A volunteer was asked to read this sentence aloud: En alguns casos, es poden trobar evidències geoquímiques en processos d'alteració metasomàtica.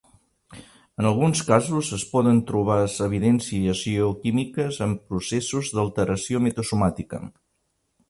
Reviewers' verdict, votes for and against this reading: accepted, 2, 1